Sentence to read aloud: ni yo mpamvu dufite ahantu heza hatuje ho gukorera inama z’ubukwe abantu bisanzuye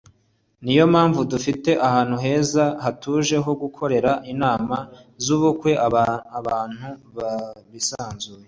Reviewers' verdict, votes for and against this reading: accepted, 2, 0